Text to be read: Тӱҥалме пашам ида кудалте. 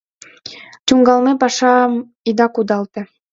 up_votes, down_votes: 2, 0